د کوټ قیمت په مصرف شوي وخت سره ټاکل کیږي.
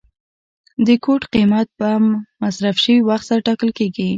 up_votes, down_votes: 2, 0